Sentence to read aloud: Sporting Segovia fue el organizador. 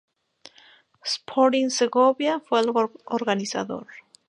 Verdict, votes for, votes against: accepted, 2, 0